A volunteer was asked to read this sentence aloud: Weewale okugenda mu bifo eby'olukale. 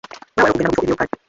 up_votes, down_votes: 1, 2